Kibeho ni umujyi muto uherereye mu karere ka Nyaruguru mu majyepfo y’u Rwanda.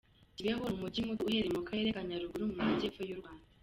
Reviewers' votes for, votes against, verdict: 2, 0, accepted